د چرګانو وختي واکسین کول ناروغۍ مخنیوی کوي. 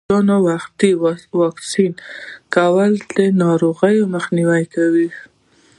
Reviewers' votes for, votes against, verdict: 0, 2, rejected